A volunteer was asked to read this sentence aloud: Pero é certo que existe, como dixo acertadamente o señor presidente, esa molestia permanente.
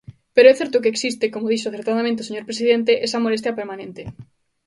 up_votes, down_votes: 2, 0